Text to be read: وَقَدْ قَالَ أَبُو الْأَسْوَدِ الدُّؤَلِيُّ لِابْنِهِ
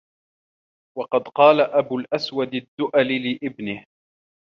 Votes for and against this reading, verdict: 0, 2, rejected